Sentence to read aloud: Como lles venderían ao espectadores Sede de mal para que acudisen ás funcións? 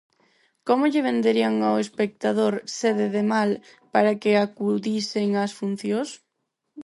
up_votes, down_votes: 0, 4